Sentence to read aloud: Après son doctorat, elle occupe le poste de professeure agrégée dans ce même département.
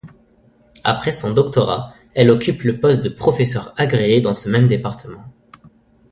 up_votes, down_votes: 1, 2